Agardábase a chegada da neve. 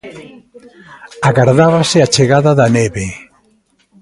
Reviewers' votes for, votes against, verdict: 2, 0, accepted